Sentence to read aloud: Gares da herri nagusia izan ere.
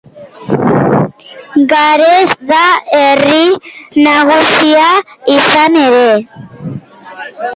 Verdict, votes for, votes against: rejected, 2, 3